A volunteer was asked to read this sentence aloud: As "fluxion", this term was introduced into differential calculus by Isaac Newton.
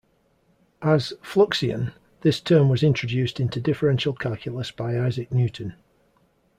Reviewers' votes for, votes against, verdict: 2, 0, accepted